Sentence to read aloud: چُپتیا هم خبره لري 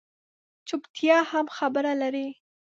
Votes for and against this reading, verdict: 2, 0, accepted